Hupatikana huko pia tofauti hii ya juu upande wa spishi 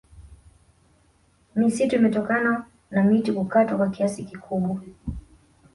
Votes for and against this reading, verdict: 2, 0, accepted